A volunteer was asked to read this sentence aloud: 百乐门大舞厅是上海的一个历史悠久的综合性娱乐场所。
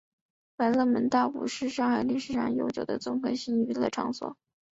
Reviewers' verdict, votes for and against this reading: rejected, 2, 3